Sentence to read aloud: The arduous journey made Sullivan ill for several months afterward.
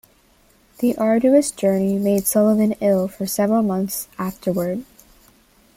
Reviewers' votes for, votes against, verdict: 2, 0, accepted